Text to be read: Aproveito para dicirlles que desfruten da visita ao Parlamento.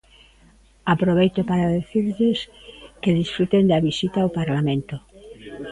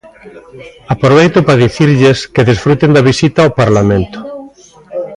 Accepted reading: second